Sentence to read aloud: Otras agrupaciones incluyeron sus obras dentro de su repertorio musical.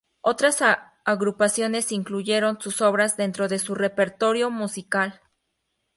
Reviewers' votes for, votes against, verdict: 2, 0, accepted